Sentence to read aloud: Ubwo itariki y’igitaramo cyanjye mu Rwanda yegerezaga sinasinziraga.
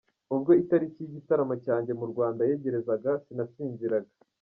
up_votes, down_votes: 1, 2